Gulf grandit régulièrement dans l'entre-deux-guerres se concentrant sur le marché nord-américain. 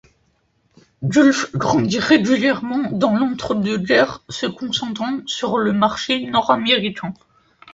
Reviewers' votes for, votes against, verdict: 2, 0, accepted